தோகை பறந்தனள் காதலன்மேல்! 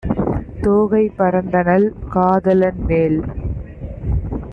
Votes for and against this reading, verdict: 2, 0, accepted